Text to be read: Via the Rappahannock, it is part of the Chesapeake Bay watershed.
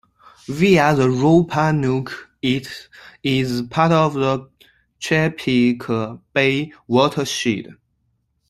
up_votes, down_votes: 0, 2